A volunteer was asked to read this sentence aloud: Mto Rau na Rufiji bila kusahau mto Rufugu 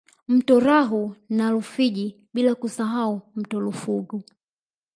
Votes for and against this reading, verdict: 2, 0, accepted